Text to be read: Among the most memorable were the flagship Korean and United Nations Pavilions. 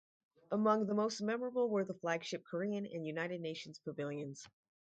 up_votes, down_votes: 4, 0